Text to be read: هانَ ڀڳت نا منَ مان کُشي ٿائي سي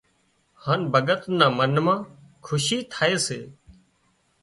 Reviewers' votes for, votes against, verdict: 3, 0, accepted